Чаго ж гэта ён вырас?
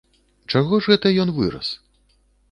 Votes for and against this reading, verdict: 2, 0, accepted